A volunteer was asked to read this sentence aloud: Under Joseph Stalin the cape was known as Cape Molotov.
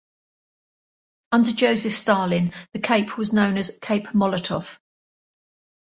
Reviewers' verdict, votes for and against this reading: accepted, 2, 0